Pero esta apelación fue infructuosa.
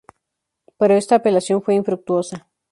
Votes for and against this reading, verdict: 2, 0, accepted